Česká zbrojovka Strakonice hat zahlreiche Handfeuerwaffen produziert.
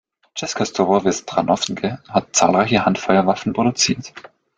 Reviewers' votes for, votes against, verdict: 2, 0, accepted